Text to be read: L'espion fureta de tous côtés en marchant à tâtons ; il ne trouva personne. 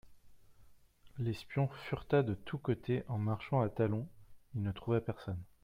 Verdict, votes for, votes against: rejected, 0, 2